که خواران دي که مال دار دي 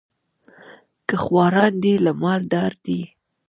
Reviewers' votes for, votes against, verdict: 1, 2, rejected